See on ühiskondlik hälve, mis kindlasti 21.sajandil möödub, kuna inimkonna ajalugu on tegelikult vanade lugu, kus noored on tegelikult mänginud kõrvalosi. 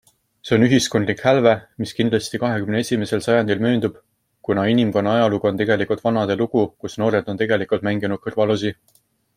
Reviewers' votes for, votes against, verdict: 0, 2, rejected